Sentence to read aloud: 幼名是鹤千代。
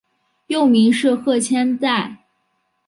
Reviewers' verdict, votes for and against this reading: accepted, 3, 0